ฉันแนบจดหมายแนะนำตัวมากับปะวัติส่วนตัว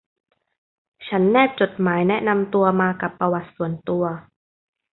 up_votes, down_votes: 2, 0